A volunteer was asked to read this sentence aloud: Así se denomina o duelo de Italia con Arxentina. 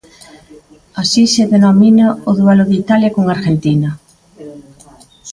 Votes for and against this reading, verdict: 1, 2, rejected